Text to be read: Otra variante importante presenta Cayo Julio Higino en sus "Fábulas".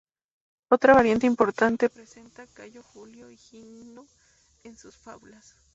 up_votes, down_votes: 0, 2